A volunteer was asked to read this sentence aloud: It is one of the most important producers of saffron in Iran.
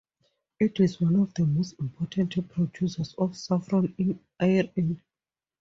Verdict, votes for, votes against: accepted, 2, 0